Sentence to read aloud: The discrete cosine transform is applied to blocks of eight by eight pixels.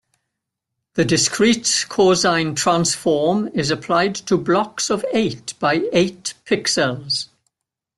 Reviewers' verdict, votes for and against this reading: accepted, 2, 0